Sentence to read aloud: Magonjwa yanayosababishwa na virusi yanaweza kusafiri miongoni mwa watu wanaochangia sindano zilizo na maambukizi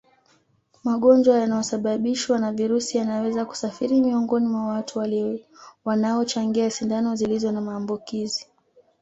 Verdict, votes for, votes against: rejected, 1, 2